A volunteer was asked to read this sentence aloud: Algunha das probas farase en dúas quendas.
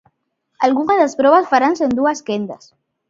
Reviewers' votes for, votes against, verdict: 1, 2, rejected